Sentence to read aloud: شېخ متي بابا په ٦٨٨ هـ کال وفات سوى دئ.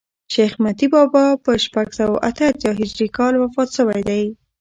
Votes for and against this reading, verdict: 0, 2, rejected